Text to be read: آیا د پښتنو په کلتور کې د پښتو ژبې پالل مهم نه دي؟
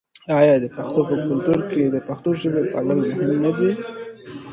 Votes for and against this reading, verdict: 2, 0, accepted